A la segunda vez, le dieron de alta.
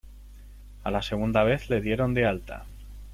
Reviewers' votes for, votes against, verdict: 2, 0, accepted